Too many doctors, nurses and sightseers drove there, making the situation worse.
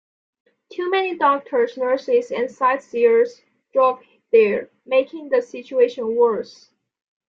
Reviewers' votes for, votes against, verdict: 2, 1, accepted